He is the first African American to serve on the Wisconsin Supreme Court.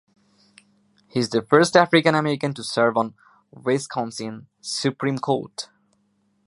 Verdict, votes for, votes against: rejected, 0, 2